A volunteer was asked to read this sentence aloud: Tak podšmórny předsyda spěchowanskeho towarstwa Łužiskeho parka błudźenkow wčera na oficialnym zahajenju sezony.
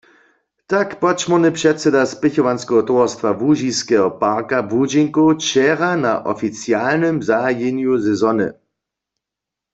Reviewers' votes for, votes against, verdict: 2, 0, accepted